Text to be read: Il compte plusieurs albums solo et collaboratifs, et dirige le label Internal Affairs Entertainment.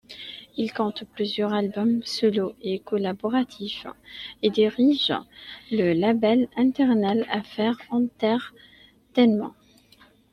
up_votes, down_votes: 2, 0